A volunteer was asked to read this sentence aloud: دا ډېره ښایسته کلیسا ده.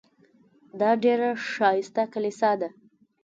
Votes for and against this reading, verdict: 2, 0, accepted